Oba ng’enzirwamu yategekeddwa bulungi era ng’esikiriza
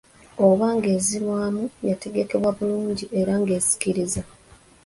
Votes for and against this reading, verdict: 2, 0, accepted